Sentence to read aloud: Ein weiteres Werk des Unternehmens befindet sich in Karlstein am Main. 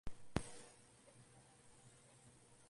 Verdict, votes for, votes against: rejected, 1, 2